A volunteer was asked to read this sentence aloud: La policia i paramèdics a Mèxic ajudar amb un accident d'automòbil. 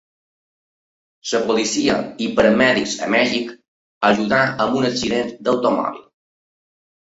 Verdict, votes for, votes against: rejected, 0, 2